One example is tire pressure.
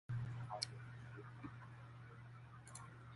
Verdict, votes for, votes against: rejected, 0, 2